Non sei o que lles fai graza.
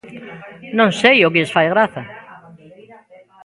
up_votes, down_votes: 1, 2